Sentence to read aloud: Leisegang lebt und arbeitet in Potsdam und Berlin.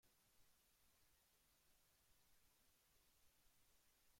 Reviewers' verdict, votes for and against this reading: rejected, 0, 2